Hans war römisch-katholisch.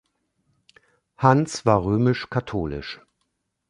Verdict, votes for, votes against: accepted, 2, 0